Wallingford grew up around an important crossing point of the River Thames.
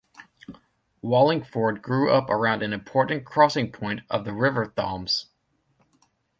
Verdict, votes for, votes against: rejected, 0, 2